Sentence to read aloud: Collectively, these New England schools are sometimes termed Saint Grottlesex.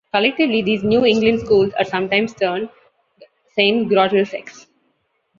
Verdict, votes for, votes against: accepted, 2, 1